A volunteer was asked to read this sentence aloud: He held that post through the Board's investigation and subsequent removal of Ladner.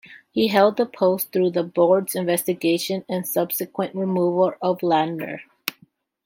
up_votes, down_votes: 2, 0